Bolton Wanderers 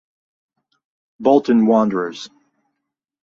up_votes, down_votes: 4, 0